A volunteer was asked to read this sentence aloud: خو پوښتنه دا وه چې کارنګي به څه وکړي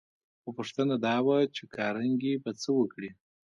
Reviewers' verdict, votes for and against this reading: accepted, 2, 1